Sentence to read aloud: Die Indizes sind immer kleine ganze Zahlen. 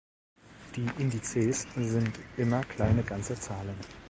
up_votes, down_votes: 2, 0